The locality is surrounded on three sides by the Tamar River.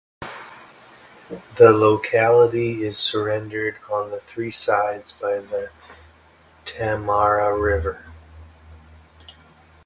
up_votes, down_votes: 1, 2